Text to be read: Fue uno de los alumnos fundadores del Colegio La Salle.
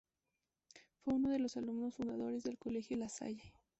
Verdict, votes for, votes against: accepted, 2, 0